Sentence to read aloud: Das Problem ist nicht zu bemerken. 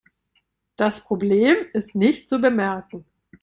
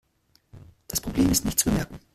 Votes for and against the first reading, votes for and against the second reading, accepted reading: 2, 0, 0, 2, first